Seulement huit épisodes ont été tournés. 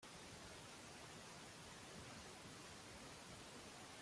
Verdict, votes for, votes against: rejected, 0, 2